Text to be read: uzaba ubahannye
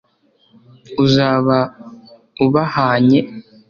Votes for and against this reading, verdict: 2, 1, accepted